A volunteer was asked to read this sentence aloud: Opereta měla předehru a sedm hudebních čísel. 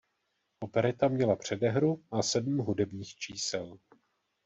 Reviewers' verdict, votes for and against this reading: accepted, 2, 0